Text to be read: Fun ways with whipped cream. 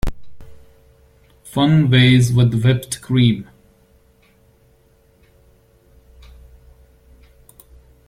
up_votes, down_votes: 1, 2